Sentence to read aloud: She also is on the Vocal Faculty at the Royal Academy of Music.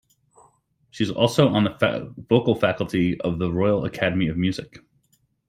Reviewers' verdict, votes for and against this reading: rejected, 1, 2